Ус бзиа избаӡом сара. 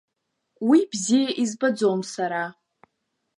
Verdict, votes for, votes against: accepted, 2, 0